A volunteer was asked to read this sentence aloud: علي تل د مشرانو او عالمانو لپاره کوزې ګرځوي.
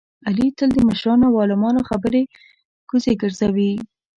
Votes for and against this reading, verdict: 1, 2, rejected